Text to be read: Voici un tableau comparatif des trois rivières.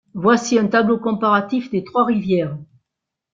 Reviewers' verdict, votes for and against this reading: accepted, 2, 1